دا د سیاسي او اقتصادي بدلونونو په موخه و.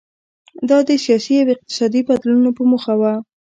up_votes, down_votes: 1, 2